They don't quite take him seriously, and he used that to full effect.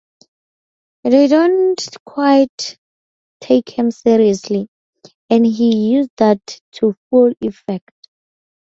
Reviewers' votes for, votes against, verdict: 0, 2, rejected